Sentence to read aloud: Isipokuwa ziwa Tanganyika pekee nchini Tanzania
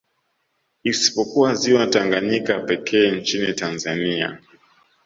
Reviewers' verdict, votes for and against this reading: accepted, 2, 0